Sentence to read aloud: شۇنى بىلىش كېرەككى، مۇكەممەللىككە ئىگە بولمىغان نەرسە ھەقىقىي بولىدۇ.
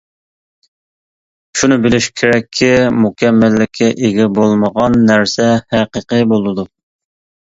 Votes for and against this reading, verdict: 2, 0, accepted